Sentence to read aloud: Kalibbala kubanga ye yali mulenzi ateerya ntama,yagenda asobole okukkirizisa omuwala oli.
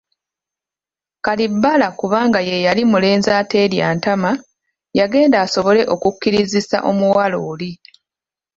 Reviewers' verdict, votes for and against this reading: accepted, 3, 0